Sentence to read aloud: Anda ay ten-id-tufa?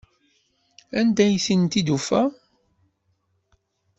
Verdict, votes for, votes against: accepted, 2, 0